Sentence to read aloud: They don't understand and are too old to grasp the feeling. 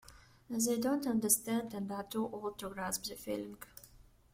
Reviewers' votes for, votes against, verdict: 2, 1, accepted